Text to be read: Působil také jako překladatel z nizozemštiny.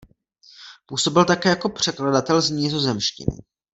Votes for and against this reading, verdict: 2, 0, accepted